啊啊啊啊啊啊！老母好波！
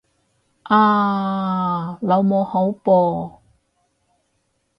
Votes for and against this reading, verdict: 0, 4, rejected